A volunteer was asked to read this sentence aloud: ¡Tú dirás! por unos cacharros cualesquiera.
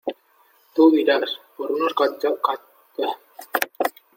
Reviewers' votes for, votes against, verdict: 0, 2, rejected